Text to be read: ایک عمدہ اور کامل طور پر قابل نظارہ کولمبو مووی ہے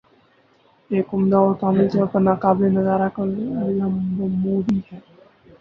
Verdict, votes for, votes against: rejected, 0, 4